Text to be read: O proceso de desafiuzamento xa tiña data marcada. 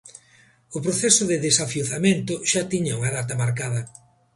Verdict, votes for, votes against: rejected, 0, 2